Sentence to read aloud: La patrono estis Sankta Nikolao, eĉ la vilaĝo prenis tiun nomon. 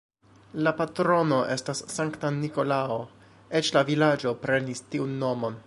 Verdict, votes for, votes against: rejected, 0, 2